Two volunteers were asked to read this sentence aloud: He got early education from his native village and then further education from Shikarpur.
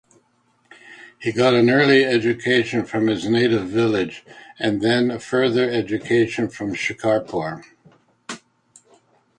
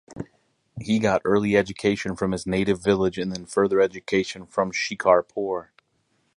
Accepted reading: second